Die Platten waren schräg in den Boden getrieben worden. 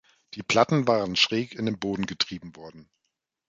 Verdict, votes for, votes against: accepted, 2, 0